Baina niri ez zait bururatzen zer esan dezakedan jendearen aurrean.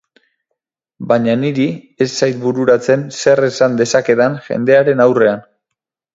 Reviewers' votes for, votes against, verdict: 2, 2, rejected